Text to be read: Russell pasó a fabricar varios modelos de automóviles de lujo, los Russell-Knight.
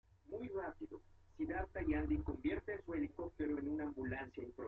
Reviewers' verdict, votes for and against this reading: rejected, 1, 2